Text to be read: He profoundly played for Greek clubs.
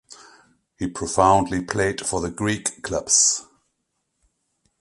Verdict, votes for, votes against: rejected, 1, 2